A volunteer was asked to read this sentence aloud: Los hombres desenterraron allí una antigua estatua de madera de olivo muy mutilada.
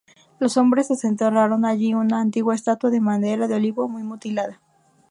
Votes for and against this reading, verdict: 2, 2, rejected